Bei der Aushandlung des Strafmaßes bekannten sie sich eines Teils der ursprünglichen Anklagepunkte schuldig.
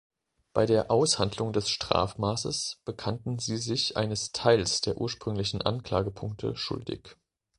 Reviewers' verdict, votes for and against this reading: accepted, 2, 0